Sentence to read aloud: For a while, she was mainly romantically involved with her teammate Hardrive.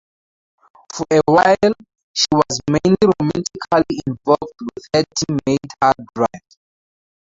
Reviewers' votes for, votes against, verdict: 0, 4, rejected